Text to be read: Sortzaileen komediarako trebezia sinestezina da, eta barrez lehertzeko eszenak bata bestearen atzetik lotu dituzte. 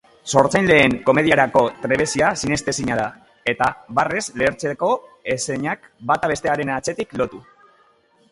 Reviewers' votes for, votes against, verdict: 1, 2, rejected